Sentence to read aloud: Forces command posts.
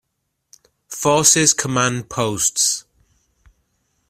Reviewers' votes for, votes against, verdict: 2, 0, accepted